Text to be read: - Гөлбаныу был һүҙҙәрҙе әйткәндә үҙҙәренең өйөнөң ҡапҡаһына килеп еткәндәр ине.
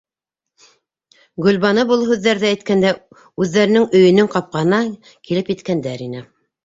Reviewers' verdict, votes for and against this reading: accepted, 2, 0